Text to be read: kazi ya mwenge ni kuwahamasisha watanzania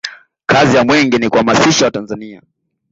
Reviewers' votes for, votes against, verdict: 2, 1, accepted